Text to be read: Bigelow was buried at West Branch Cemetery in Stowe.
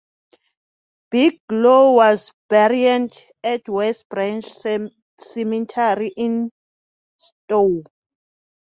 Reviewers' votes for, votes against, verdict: 0, 2, rejected